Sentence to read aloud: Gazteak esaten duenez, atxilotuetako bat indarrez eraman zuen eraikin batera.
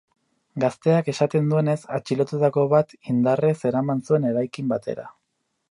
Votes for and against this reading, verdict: 0, 2, rejected